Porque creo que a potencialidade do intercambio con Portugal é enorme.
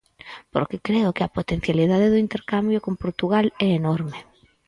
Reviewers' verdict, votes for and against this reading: accepted, 4, 0